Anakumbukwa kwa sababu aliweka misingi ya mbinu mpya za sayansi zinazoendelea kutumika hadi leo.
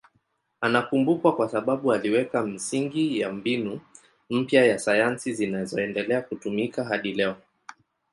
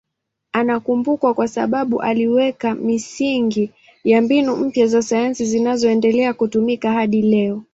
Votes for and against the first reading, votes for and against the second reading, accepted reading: 0, 2, 2, 1, second